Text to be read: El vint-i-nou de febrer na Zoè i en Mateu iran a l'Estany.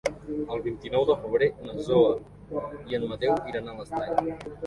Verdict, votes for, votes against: rejected, 1, 2